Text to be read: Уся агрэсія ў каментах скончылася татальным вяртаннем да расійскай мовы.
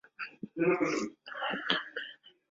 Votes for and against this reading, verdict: 0, 3, rejected